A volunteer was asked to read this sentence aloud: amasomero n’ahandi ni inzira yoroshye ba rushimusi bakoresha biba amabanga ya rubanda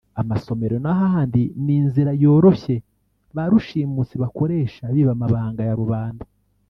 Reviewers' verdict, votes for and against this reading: rejected, 1, 2